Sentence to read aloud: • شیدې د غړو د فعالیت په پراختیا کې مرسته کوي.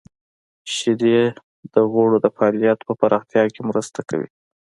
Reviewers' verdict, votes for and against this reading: accepted, 2, 1